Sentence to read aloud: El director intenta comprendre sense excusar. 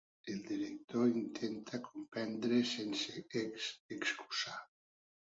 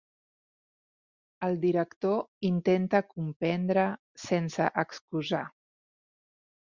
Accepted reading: second